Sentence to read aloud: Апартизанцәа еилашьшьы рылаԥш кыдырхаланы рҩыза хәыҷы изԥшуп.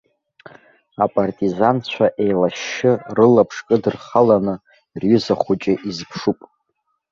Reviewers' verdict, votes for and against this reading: rejected, 0, 2